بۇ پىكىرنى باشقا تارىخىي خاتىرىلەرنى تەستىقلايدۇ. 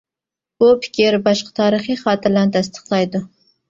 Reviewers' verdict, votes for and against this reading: rejected, 0, 2